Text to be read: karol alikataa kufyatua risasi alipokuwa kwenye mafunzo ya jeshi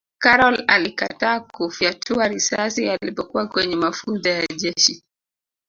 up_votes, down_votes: 2, 0